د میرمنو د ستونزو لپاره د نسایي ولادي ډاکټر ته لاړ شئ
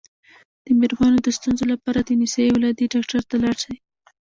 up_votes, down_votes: 1, 2